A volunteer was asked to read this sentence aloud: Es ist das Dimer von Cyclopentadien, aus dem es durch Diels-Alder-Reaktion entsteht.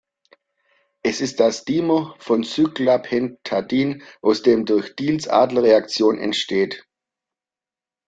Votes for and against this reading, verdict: 0, 2, rejected